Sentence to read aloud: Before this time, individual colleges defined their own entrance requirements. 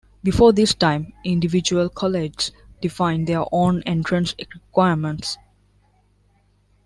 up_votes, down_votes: 0, 2